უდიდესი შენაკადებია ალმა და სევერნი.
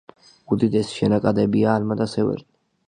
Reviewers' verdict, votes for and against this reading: accepted, 2, 0